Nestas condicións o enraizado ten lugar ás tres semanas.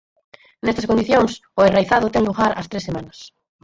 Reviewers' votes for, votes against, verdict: 2, 4, rejected